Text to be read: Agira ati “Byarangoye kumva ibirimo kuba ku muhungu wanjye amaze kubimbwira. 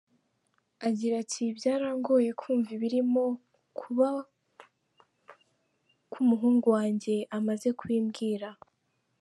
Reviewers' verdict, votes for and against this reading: rejected, 1, 2